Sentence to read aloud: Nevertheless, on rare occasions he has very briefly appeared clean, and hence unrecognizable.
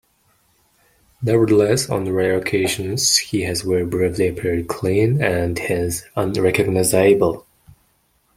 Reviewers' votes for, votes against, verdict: 1, 2, rejected